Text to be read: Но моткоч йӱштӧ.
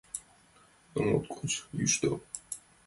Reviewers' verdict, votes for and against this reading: accepted, 2, 0